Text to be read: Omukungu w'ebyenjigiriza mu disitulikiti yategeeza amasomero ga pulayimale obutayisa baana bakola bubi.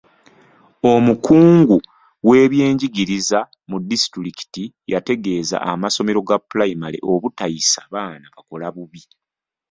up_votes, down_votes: 2, 0